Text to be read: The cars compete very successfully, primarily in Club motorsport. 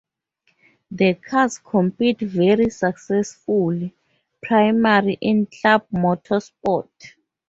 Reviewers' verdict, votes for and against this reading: rejected, 0, 2